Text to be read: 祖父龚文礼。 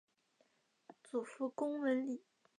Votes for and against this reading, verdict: 2, 0, accepted